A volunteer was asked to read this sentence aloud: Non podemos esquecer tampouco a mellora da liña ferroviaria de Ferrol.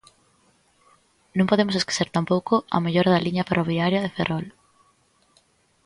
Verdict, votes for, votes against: accepted, 2, 0